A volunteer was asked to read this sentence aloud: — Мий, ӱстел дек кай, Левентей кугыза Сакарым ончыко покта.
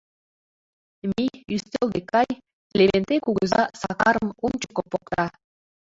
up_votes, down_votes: 0, 2